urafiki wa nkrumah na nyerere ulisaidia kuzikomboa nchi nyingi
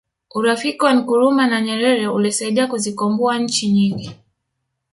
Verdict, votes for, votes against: rejected, 1, 2